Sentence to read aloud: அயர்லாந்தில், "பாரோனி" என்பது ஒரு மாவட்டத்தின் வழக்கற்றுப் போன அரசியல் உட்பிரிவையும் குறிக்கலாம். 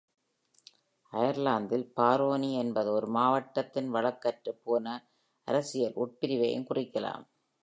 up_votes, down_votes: 1, 2